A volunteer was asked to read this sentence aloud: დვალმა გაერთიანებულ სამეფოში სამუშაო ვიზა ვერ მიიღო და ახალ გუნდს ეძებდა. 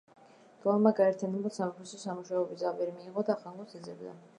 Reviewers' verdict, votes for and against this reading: accepted, 2, 1